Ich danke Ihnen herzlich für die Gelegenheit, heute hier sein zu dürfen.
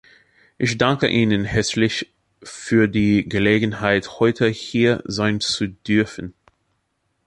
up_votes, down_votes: 2, 0